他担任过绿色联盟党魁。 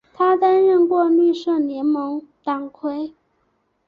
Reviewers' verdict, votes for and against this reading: accepted, 2, 1